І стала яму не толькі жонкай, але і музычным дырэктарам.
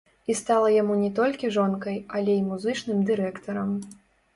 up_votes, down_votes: 2, 1